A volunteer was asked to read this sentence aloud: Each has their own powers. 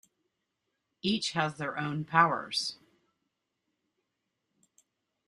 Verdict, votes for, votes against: accepted, 2, 1